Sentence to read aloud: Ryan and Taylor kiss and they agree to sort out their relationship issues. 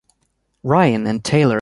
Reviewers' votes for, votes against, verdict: 1, 2, rejected